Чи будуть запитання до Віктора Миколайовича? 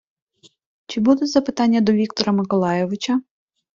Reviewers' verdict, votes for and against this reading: accepted, 2, 0